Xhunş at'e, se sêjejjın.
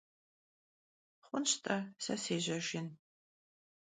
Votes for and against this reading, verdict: 0, 2, rejected